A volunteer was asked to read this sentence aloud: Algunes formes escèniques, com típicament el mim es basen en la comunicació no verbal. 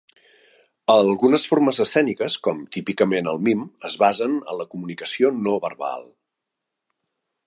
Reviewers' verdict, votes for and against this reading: accepted, 2, 0